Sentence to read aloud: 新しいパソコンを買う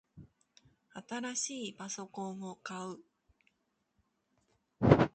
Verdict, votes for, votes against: accepted, 2, 0